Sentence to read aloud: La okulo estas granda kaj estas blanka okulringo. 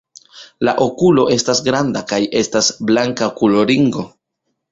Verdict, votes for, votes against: rejected, 0, 2